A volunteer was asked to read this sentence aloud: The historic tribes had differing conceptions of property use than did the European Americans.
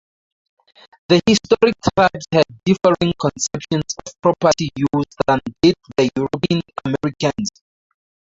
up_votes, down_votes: 0, 2